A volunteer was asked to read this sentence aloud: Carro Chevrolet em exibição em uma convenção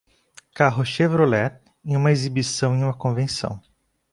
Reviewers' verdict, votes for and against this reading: rejected, 0, 2